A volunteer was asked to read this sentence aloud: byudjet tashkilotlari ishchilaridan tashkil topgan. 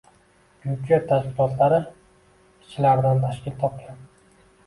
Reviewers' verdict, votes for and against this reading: rejected, 1, 2